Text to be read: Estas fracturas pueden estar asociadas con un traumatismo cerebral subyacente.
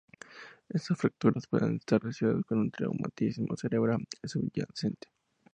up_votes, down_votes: 2, 0